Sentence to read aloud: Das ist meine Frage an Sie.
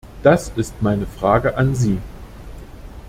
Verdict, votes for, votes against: accepted, 2, 0